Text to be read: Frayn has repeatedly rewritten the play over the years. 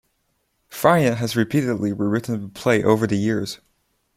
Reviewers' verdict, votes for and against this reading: rejected, 0, 2